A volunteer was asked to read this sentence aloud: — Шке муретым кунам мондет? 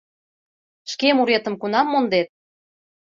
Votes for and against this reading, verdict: 2, 0, accepted